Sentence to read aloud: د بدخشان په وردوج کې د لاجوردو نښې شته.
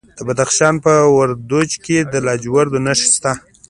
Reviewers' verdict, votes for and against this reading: accepted, 2, 0